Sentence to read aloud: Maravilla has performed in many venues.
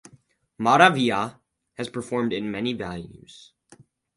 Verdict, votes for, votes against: rejected, 2, 4